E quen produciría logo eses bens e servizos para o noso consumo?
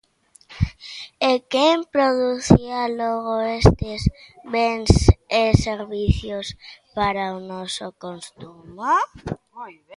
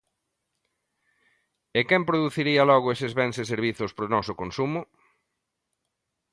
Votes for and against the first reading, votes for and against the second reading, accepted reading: 0, 2, 2, 0, second